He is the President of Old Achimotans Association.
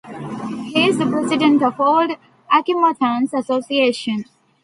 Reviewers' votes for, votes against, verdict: 0, 2, rejected